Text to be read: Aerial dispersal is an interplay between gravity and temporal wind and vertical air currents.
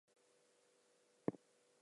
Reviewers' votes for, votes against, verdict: 0, 2, rejected